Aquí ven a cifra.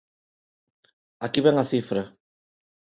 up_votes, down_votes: 2, 0